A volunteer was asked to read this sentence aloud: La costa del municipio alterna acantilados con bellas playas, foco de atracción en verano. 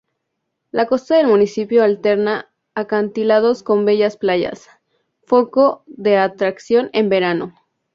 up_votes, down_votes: 2, 0